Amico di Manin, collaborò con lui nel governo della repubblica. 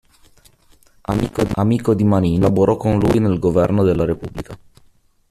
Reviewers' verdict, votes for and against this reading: rejected, 1, 2